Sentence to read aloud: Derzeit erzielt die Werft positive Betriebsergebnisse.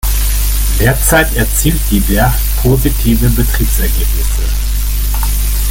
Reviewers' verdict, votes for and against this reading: rejected, 0, 2